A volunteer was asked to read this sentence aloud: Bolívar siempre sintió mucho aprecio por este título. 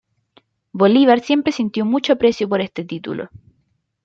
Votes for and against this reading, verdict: 2, 0, accepted